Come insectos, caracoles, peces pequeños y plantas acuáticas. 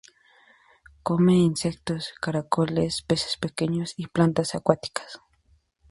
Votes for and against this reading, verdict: 2, 0, accepted